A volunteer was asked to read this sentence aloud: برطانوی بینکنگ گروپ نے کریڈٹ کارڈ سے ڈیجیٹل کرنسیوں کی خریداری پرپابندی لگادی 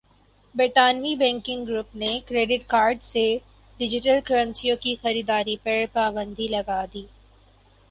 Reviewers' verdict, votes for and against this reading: accepted, 4, 0